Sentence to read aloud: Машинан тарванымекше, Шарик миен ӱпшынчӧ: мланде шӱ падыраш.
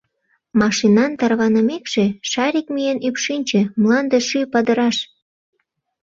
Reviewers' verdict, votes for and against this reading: rejected, 1, 2